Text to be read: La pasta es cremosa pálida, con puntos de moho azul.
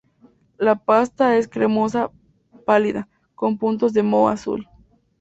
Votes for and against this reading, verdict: 2, 4, rejected